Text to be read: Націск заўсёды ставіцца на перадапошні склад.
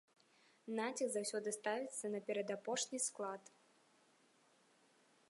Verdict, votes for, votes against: accepted, 2, 0